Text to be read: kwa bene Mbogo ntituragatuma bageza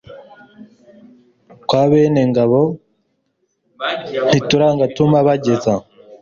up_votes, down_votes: 1, 2